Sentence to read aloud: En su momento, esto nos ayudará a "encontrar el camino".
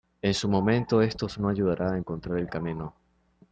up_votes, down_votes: 0, 2